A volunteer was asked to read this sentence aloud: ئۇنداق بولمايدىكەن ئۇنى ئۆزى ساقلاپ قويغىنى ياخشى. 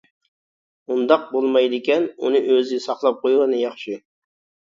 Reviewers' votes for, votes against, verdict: 2, 0, accepted